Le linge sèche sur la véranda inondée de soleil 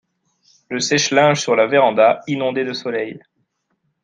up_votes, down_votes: 1, 2